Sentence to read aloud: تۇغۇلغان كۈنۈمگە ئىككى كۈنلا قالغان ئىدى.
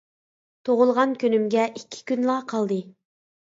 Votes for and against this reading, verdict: 0, 2, rejected